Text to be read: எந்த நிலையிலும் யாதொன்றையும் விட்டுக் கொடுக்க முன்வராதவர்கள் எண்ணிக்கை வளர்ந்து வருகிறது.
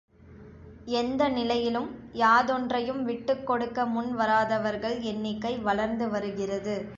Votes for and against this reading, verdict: 2, 0, accepted